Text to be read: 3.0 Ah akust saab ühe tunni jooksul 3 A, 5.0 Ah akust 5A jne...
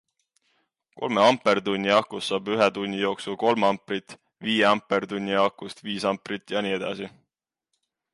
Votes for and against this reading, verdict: 0, 2, rejected